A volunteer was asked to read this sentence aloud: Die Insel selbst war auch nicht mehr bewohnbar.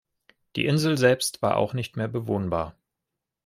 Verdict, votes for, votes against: accepted, 2, 0